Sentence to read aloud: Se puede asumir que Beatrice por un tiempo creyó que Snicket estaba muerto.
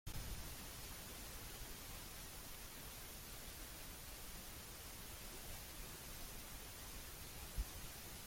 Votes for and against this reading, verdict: 1, 2, rejected